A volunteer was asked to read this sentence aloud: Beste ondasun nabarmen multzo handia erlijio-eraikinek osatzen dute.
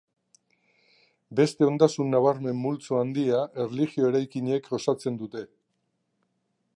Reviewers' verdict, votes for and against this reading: accepted, 2, 0